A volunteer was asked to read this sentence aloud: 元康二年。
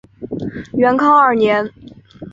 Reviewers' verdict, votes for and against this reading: accepted, 2, 1